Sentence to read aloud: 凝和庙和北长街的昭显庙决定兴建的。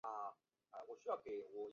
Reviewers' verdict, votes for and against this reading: rejected, 2, 2